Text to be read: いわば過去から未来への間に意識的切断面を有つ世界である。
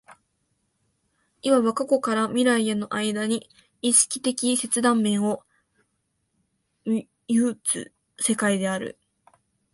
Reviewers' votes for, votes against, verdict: 1, 2, rejected